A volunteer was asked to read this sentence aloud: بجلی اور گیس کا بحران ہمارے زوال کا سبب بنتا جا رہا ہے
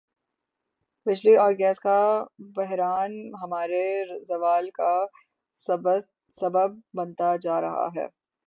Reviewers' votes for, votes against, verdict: 0, 3, rejected